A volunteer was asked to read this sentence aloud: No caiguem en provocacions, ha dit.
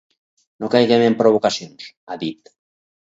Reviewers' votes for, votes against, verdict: 4, 0, accepted